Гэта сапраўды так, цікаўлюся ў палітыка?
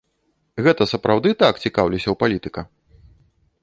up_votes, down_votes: 2, 0